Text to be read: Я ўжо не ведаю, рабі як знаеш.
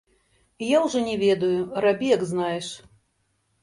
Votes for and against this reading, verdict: 0, 2, rejected